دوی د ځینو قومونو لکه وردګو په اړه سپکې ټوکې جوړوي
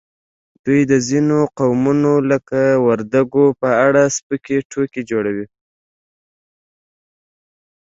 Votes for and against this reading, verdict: 2, 0, accepted